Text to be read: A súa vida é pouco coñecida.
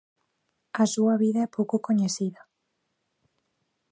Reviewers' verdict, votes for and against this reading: accepted, 2, 0